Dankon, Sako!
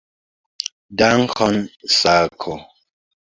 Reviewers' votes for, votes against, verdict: 2, 0, accepted